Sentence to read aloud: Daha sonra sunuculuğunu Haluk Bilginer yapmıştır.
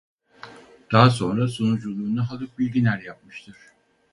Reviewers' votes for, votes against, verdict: 2, 2, rejected